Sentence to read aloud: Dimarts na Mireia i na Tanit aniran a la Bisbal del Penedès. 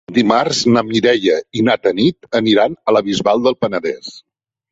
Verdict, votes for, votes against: accepted, 3, 0